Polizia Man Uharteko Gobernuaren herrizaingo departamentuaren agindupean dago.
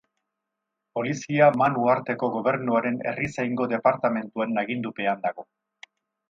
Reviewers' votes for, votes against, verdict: 2, 0, accepted